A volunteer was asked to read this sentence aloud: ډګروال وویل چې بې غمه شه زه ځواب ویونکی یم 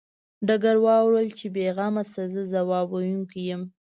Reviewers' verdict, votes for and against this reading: accepted, 2, 0